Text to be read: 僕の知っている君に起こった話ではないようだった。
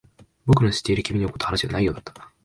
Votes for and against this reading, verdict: 2, 1, accepted